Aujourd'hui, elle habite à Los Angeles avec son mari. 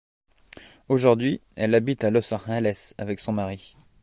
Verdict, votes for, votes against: rejected, 0, 2